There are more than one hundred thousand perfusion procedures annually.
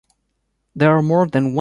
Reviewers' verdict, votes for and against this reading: rejected, 0, 2